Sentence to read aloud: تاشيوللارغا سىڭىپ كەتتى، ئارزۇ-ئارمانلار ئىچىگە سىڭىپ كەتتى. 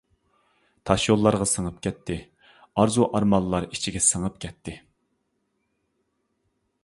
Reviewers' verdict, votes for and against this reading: accepted, 2, 0